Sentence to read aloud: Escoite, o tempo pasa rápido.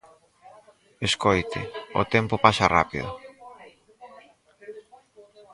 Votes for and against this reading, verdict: 2, 4, rejected